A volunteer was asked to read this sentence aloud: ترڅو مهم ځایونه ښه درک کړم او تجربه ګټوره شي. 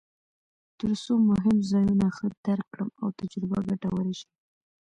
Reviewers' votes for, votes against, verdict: 2, 1, accepted